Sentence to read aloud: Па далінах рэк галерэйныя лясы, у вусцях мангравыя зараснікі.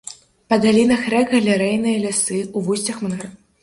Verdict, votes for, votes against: rejected, 0, 2